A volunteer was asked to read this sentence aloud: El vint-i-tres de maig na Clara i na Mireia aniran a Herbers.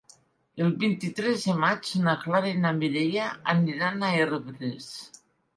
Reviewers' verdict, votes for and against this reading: accepted, 4, 1